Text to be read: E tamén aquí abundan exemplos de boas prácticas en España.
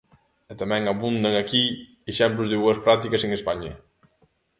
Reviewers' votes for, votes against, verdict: 0, 2, rejected